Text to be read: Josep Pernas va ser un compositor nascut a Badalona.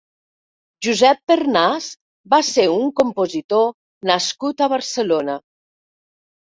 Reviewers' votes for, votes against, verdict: 0, 2, rejected